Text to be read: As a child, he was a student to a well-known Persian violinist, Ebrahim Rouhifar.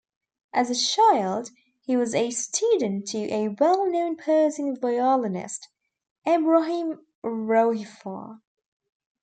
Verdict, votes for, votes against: accepted, 2, 0